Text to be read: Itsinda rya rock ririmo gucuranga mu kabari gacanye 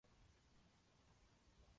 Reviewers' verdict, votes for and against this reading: rejected, 0, 2